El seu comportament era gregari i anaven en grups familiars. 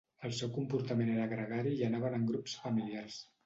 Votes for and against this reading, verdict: 2, 0, accepted